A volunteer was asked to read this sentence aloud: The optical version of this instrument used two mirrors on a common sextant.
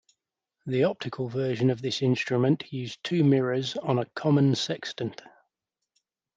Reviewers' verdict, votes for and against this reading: accepted, 2, 0